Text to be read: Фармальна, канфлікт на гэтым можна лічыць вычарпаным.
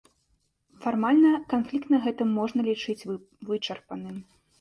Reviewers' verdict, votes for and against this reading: rejected, 0, 2